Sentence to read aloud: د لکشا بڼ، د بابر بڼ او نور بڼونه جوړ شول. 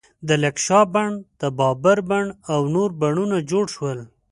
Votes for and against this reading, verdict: 2, 0, accepted